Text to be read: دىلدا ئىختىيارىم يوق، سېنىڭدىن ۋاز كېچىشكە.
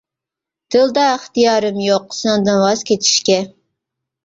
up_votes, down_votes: 2, 1